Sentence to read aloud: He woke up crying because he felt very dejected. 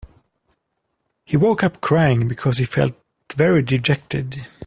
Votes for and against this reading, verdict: 2, 1, accepted